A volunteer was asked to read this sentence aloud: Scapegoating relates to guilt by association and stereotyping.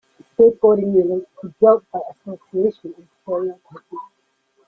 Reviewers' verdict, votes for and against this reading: rejected, 1, 2